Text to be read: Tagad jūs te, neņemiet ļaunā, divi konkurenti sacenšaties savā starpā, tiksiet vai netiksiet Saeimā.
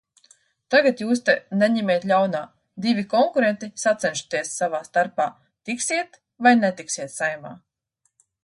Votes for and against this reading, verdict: 2, 0, accepted